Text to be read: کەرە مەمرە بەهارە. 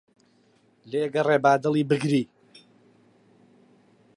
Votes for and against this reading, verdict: 0, 2, rejected